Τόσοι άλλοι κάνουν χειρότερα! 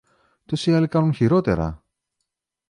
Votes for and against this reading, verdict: 1, 2, rejected